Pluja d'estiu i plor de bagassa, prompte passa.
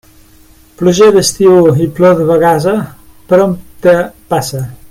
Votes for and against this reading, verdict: 0, 2, rejected